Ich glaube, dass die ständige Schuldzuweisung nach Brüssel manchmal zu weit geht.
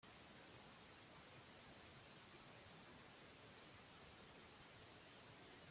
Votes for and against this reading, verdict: 0, 2, rejected